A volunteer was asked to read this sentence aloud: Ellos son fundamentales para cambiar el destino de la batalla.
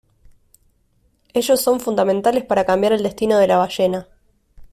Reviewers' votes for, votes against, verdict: 0, 2, rejected